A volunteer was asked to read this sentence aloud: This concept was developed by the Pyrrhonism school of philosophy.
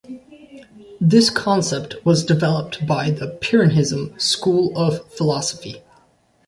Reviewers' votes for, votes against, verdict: 0, 2, rejected